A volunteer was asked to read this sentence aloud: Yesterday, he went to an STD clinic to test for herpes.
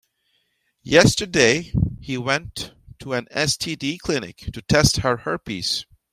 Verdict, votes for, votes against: rejected, 1, 2